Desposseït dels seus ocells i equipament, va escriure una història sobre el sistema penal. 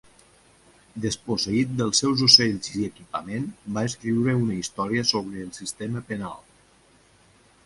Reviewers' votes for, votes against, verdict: 2, 0, accepted